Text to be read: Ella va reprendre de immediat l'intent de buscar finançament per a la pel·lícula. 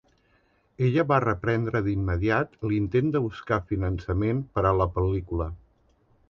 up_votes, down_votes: 4, 0